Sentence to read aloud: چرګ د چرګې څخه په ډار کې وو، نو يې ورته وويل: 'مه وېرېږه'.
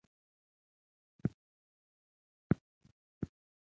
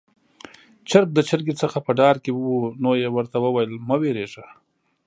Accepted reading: second